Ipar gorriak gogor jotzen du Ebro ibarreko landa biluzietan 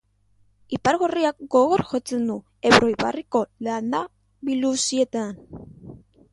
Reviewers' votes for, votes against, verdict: 1, 2, rejected